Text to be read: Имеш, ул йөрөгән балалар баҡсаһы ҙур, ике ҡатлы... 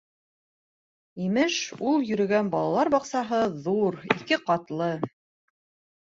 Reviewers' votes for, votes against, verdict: 2, 0, accepted